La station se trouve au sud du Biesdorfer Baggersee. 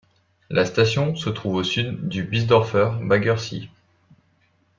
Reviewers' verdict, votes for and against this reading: accepted, 2, 0